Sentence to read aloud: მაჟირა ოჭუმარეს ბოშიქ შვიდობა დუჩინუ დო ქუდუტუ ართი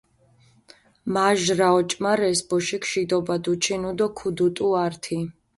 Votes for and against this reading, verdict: 0, 3, rejected